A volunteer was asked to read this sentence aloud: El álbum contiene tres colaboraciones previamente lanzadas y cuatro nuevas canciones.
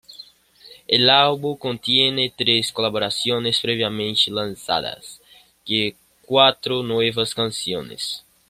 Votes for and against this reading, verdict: 0, 2, rejected